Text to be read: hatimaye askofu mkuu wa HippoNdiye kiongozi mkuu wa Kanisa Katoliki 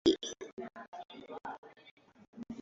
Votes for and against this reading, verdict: 0, 2, rejected